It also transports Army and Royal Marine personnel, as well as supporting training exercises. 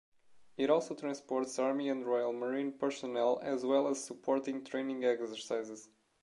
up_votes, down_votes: 2, 1